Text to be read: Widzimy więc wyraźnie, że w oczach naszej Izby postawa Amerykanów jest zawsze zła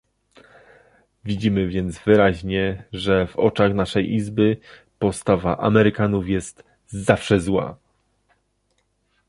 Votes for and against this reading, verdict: 1, 2, rejected